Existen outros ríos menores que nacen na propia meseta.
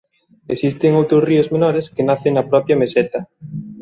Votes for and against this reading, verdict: 2, 0, accepted